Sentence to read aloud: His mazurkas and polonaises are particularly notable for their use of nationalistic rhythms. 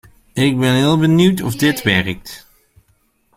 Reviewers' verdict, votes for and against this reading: rejected, 1, 2